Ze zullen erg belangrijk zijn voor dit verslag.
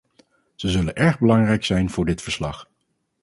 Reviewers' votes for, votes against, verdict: 4, 0, accepted